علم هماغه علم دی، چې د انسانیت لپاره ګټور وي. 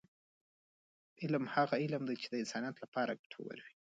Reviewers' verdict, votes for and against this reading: rejected, 0, 2